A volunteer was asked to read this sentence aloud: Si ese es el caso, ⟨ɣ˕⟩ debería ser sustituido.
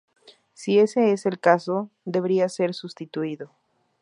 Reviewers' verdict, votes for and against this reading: rejected, 0, 2